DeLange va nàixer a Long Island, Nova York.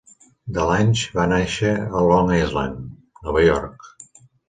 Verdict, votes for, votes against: accepted, 2, 0